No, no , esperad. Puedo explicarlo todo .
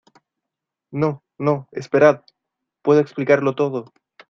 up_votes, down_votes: 2, 0